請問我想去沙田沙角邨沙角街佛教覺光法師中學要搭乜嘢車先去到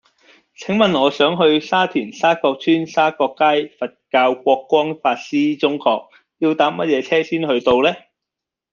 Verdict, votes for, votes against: rejected, 0, 2